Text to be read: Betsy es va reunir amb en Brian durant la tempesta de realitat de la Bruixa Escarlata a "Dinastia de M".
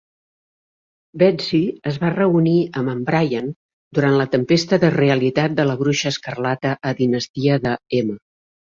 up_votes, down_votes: 2, 0